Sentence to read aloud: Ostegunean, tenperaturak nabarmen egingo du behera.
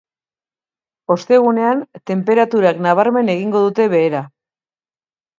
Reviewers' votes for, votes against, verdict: 1, 2, rejected